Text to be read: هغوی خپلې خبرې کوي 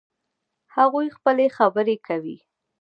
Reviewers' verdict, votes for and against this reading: accepted, 2, 0